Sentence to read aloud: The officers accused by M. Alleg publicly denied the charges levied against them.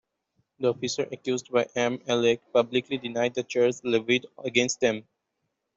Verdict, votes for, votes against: rejected, 0, 2